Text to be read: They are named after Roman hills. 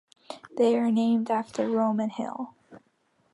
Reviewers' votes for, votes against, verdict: 1, 2, rejected